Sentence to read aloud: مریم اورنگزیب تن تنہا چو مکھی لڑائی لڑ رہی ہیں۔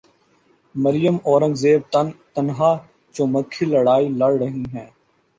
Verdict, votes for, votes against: accepted, 2, 1